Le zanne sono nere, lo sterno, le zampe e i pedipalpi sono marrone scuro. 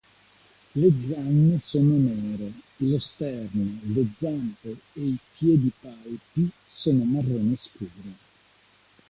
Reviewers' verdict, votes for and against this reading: rejected, 1, 2